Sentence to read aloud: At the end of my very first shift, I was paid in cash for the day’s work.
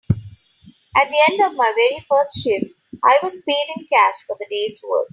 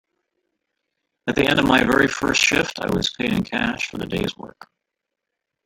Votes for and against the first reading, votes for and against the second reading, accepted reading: 2, 0, 1, 2, first